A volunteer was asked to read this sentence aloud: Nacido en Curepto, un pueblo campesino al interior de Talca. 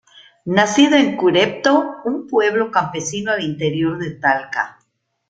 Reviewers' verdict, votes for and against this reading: accepted, 2, 0